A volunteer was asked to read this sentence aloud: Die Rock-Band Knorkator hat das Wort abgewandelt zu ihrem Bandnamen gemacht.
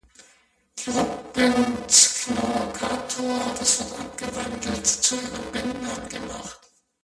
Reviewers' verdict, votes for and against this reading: rejected, 0, 2